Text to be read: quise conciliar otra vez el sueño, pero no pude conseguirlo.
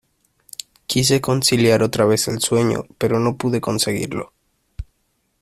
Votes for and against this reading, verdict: 2, 0, accepted